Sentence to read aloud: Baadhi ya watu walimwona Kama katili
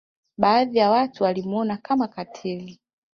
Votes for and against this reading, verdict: 2, 0, accepted